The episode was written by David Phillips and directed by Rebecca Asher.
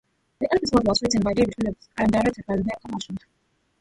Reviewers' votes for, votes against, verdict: 0, 2, rejected